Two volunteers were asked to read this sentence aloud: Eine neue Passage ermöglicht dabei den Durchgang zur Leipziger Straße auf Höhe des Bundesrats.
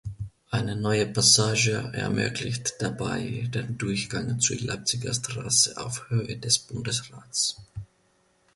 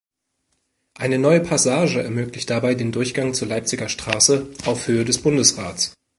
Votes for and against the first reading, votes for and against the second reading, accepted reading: 1, 2, 2, 0, second